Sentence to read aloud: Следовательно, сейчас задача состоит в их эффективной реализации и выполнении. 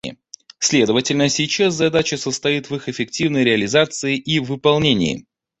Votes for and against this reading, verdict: 1, 2, rejected